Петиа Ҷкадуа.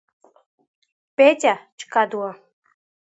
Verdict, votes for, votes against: accepted, 2, 1